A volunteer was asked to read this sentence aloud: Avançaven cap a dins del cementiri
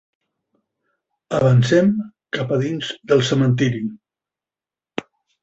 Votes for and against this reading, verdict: 0, 2, rejected